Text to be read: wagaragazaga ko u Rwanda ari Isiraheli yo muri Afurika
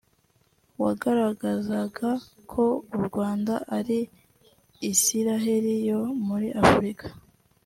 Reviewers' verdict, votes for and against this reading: rejected, 0, 2